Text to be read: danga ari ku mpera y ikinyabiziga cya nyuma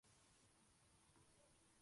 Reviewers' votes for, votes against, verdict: 0, 2, rejected